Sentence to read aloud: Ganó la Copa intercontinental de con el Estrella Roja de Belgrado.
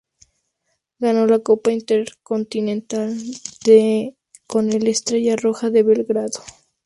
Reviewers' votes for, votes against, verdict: 2, 0, accepted